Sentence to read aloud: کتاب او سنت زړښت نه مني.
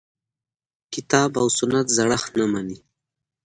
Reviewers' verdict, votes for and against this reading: accepted, 2, 0